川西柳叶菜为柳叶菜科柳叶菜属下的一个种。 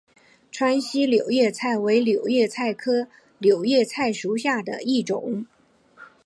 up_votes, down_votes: 7, 0